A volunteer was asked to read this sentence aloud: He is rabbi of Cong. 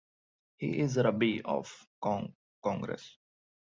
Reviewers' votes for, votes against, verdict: 0, 2, rejected